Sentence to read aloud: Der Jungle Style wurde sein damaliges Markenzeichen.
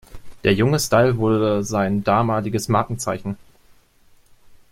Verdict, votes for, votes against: rejected, 0, 2